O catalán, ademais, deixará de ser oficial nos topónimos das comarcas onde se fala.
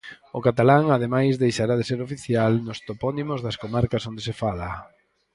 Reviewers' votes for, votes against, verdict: 4, 0, accepted